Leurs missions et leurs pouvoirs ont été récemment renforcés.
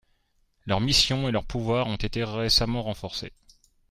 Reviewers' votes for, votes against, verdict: 0, 2, rejected